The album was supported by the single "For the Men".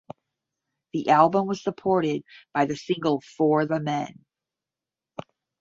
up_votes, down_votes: 10, 0